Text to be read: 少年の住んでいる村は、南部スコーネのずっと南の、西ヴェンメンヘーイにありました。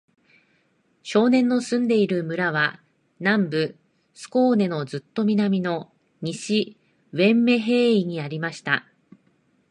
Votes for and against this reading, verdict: 2, 0, accepted